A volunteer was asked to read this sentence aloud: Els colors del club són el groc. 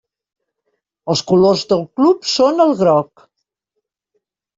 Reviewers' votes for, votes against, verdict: 3, 0, accepted